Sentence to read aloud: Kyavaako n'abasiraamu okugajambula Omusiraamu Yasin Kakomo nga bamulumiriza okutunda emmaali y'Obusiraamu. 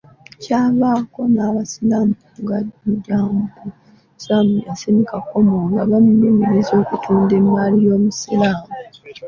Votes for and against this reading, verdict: 3, 2, accepted